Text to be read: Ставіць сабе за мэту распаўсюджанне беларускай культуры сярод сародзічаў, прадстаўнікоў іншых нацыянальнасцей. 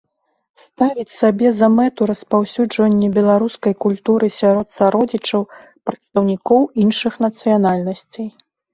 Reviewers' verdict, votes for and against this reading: accepted, 2, 0